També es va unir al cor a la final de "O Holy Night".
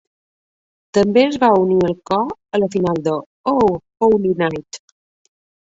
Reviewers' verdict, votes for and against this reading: accepted, 2, 0